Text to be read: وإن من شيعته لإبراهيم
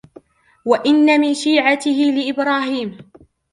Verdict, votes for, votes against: accepted, 2, 1